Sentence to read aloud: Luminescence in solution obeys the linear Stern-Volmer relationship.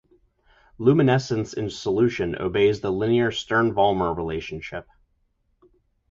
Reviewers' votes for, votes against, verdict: 2, 0, accepted